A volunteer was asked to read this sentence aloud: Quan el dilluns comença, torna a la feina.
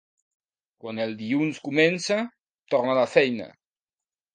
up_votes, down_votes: 2, 0